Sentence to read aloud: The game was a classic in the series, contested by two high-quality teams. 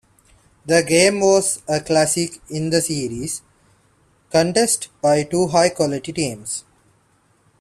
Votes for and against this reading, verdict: 2, 0, accepted